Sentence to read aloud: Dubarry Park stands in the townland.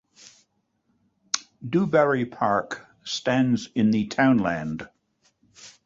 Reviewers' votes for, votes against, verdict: 2, 0, accepted